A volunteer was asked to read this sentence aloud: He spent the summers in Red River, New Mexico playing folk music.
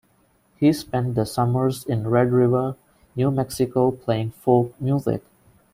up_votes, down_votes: 2, 0